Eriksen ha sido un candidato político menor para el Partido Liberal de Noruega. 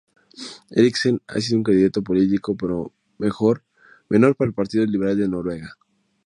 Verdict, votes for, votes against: accepted, 2, 0